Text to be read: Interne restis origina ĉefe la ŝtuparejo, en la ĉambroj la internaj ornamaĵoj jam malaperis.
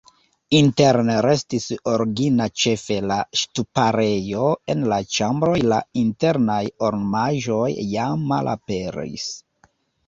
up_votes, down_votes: 0, 2